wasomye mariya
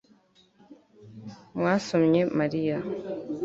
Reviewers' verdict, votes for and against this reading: rejected, 0, 2